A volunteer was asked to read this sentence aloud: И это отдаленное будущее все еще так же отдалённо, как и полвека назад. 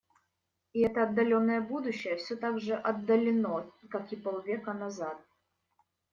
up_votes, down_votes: 1, 2